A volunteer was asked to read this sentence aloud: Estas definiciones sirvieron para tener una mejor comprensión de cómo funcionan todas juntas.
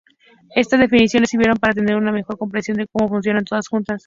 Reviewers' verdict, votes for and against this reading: rejected, 0, 2